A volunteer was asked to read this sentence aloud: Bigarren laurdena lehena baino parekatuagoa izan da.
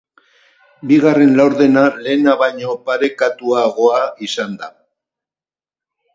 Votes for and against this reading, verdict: 0, 2, rejected